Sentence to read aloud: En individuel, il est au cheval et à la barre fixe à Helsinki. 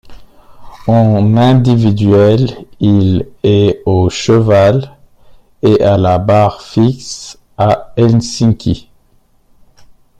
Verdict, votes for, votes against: rejected, 0, 2